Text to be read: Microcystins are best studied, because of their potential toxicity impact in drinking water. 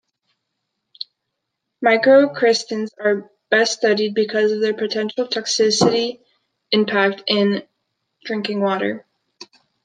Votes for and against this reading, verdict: 2, 1, accepted